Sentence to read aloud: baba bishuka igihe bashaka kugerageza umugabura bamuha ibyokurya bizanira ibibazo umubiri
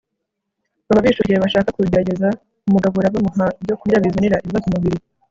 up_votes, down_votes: 0, 2